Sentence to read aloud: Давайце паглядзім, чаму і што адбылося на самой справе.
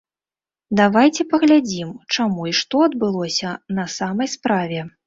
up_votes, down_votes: 1, 2